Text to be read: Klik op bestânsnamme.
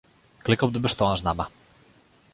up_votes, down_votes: 0, 2